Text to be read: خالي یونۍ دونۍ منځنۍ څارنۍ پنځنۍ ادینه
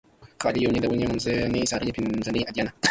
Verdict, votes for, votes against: rejected, 1, 2